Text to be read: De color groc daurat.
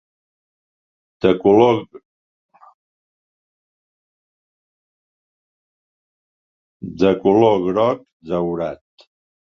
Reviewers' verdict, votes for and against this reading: rejected, 1, 2